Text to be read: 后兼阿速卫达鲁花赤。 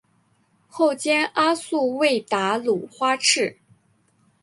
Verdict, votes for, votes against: accepted, 3, 0